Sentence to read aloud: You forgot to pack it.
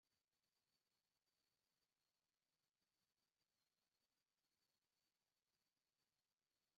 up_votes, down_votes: 0, 2